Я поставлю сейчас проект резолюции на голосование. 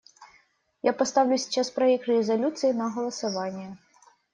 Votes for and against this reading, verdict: 2, 0, accepted